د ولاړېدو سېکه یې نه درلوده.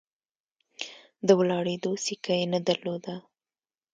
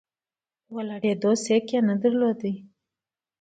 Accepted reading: second